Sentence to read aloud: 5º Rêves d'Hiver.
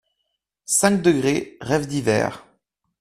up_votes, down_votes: 0, 2